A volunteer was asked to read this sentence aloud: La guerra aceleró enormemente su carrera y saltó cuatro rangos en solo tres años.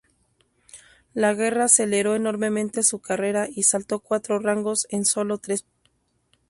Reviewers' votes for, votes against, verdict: 0, 4, rejected